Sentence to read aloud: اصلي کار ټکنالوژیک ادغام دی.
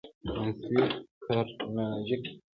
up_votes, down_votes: 0, 2